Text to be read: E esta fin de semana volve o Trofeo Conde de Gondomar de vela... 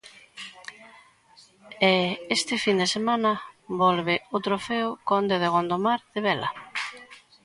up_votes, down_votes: 2, 1